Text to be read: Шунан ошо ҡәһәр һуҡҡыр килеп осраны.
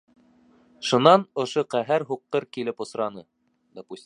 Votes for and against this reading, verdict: 2, 0, accepted